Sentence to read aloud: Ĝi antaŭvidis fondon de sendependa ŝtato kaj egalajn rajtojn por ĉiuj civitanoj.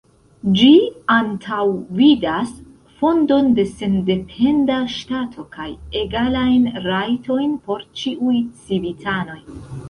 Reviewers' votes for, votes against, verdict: 0, 3, rejected